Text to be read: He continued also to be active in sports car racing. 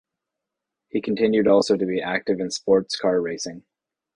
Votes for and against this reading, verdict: 2, 0, accepted